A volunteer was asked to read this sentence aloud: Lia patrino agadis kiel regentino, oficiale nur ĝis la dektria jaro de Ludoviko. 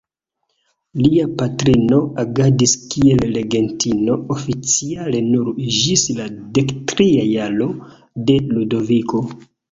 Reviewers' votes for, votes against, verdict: 1, 2, rejected